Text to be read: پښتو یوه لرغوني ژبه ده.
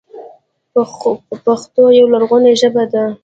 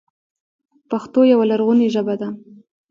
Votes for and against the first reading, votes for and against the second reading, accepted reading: 0, 2, 2, 1, second